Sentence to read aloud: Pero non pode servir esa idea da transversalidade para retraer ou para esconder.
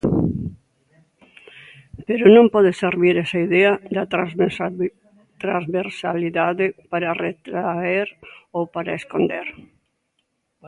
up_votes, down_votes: 0, 2